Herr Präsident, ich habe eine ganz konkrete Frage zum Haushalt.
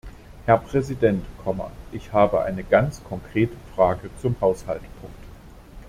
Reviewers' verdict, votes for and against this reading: accepted, 2, 1